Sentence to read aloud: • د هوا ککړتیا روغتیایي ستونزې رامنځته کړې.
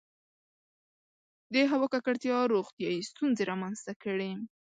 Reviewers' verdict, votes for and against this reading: accepted, 2, 0